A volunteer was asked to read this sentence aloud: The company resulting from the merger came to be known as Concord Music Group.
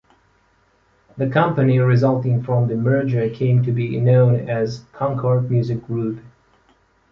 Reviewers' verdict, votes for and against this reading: accepted, 2, 0